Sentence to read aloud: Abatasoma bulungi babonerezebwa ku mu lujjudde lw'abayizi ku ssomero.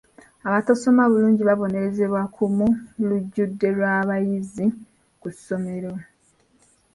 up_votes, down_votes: 1, 2